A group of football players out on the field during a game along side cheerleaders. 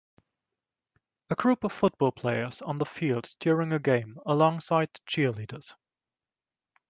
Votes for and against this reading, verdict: 3, 5, rejected